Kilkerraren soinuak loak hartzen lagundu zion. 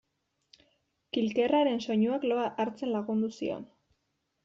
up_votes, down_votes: 1, 2